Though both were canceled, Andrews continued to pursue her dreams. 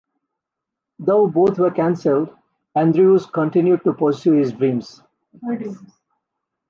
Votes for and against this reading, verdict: 2, 1, accepted